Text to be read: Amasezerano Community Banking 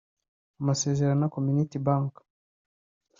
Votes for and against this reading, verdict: 1, 2, rejected